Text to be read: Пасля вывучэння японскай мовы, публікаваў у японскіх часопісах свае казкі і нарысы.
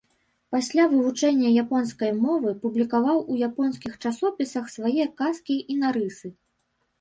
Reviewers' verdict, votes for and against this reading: rejected, 0, 2